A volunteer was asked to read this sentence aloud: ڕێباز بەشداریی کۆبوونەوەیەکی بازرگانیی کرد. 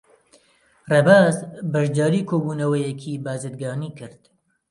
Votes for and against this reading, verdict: 2, 0, accepted